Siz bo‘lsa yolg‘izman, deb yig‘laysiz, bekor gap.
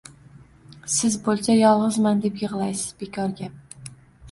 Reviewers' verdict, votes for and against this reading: accepted, 2, 0